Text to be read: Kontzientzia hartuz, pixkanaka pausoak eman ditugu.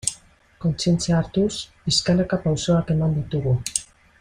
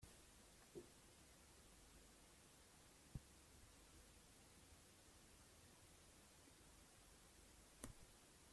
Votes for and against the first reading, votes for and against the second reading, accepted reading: 3, 0, 0, 3, first